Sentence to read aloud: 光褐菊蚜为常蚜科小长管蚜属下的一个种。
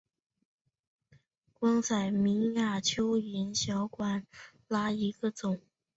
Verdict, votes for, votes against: rejected, 1, 2